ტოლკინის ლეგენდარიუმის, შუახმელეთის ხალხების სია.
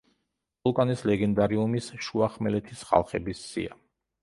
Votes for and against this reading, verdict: 0, 2, rejected